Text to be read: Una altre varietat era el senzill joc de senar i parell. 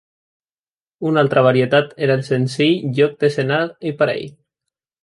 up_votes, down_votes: 2, 0